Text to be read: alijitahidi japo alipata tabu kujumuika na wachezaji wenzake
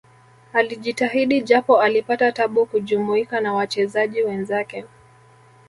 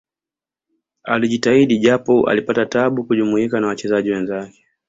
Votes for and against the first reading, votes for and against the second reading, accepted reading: 1, 2, 2, 0, second